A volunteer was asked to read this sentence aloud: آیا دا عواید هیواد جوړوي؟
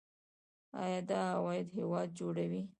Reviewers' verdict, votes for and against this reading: accepted, 2, 0